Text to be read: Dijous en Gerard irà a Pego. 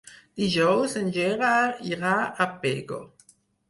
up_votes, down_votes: 4, 0